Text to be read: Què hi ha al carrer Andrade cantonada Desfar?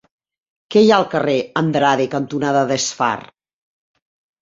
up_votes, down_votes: 3, 0